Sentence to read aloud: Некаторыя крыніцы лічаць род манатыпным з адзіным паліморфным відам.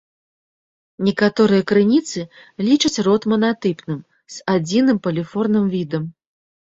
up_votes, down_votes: 0, 2